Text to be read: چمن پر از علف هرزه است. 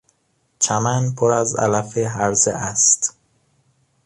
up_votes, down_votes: 2, 0